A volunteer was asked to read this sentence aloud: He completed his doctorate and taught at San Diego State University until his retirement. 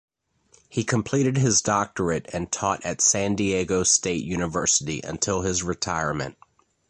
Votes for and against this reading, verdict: 2, 0, accepted